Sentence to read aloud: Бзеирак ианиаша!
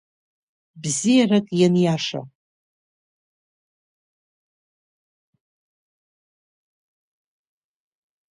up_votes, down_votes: 2, 3